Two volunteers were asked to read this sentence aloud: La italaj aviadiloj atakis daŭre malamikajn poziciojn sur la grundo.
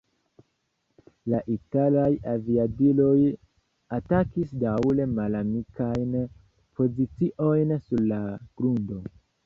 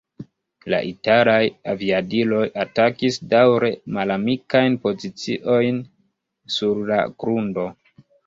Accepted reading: first